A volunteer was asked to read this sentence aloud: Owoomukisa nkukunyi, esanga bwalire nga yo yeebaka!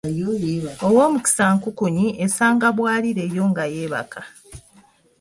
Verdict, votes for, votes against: accepted, 2, 0